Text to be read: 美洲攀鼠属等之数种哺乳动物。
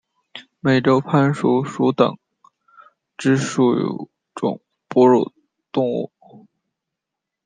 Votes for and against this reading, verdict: 1, 2, rejected